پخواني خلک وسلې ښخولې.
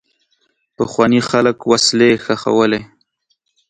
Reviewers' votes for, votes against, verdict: 2, 0, accepted